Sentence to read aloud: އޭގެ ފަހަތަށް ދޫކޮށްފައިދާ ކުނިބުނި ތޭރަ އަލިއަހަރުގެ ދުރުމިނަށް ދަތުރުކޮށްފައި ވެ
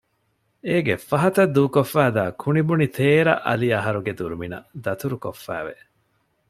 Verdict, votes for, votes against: accepted, 2, 0